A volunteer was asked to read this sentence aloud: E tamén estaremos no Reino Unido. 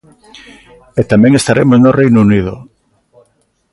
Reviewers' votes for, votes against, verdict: 2, 0, accepted